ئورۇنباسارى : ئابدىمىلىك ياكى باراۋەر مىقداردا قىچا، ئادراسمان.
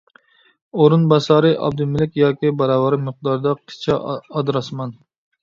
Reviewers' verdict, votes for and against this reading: rejected, 1, 2